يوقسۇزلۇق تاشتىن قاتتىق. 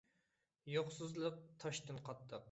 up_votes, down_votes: 2, 1